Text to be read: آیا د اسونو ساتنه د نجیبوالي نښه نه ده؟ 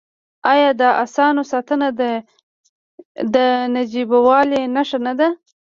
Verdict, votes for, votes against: rejected, 1, 2